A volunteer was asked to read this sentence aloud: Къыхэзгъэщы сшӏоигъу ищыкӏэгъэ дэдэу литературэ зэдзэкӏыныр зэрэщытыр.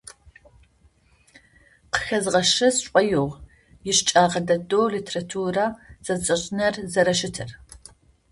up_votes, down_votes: 0, 2